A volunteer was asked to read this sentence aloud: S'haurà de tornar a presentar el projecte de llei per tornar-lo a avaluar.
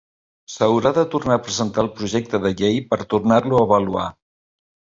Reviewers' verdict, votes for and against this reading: accepted, 3, 0